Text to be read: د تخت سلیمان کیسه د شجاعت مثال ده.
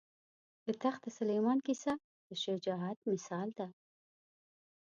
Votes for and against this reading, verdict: 0, 2, rejected